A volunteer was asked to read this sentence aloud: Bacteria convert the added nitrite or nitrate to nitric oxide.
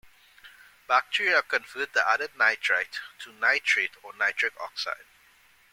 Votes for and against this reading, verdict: 1, 2, rejected